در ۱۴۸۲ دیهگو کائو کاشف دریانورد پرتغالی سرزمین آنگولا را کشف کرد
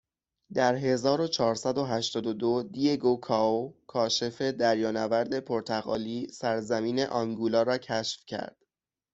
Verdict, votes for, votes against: rejected, 0, 2